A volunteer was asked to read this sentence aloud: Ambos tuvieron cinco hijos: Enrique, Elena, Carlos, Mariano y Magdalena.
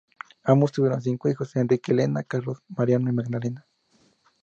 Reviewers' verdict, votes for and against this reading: accepted, 2, 0